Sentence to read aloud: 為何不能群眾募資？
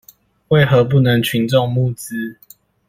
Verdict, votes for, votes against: accepted, 2, 0